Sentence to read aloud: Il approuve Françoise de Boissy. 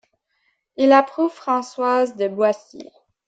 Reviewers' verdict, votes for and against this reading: accepted, 2, 0